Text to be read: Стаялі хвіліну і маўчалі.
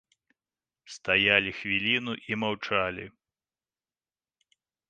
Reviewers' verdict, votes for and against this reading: accepted, 2, 0